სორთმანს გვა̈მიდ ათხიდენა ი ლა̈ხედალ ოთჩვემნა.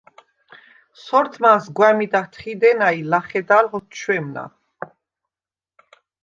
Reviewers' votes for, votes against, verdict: 2, 0, accepted